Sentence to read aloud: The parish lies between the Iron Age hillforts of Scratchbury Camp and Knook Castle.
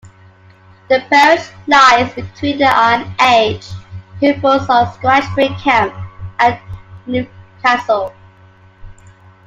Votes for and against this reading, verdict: 0, 2, rejected